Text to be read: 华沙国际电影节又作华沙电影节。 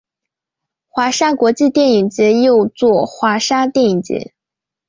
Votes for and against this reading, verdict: 2, 0, accepted